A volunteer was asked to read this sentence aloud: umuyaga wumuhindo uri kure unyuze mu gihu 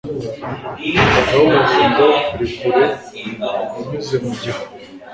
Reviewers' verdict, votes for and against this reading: rejected, 1, 2